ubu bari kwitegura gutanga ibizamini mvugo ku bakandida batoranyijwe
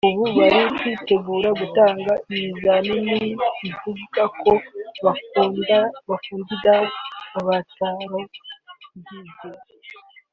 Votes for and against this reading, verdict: 0, 3, rejected